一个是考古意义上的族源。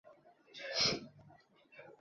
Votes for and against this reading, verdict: 0, 5, rejected